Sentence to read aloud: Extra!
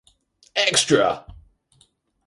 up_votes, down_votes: 4, 0